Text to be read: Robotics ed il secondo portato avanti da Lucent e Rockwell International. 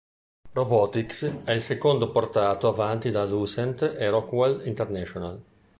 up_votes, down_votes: 0, 2